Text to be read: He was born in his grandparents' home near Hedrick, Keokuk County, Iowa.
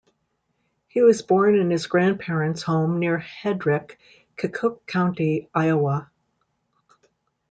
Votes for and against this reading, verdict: 1, 2, rejected